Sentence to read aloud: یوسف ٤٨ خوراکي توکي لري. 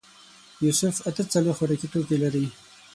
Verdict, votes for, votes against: rejected, 0, 2